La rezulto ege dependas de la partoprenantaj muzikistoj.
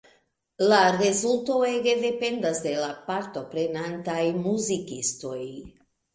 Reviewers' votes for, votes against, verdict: 2, 0, accepted